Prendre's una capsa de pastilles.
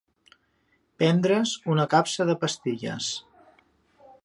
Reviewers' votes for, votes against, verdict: 2, 0, accepted